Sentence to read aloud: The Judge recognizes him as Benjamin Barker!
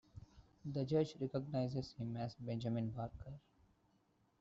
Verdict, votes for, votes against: rejected, 1, 2